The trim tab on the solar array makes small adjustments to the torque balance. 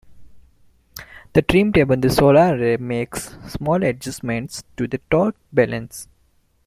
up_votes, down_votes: 3, 0